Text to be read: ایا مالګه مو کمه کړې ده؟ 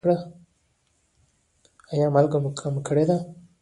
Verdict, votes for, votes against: rejected, 1, 2